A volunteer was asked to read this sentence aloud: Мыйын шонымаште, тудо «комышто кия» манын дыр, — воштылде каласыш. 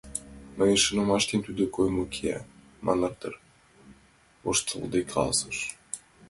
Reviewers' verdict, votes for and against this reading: rejected, 0, 2